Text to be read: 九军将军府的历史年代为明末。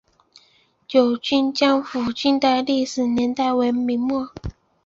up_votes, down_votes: 1, 2